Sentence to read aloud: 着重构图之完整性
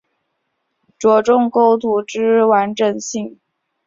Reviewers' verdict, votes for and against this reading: accepted, 3, 0